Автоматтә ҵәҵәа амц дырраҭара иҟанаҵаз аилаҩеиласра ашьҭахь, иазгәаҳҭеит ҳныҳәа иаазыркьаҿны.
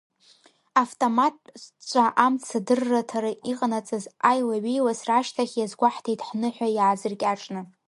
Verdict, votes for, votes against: rejected, 1, 2